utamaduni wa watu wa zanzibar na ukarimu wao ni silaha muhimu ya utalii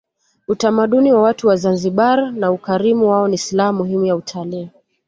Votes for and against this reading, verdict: 2, 0, accepted